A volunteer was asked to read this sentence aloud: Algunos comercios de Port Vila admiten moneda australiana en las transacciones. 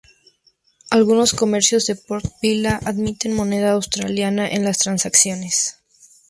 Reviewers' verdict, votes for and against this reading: accepted, 2, 0